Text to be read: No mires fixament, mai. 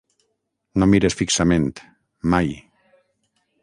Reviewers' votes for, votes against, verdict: 6, 0, accepted